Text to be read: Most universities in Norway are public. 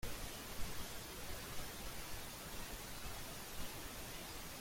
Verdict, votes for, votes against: rejected, 0, 2